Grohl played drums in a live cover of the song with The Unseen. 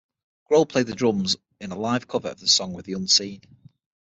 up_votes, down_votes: 0, 6